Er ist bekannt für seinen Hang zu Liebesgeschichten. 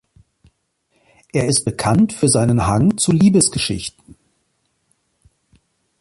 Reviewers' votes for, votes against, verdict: 2, 1, accepted